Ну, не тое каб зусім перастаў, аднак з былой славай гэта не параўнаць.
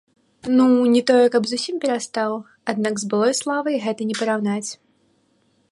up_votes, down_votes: 2, 1